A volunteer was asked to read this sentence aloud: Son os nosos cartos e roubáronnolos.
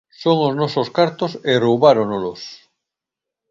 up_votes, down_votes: 2, 0